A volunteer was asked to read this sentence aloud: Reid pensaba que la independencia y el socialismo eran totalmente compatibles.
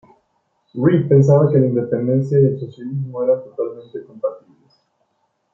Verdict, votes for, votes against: rejected, 0, 2